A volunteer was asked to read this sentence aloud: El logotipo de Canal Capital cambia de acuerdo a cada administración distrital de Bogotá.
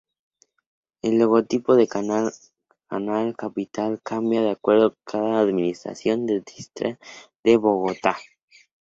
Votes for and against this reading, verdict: 0, 6, rejected